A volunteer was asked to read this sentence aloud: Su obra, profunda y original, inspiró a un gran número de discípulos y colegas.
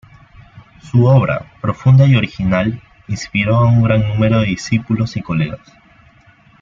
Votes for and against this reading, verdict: 2, 0, accepted